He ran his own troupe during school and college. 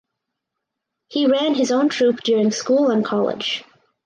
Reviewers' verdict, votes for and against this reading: accepted, 4, 0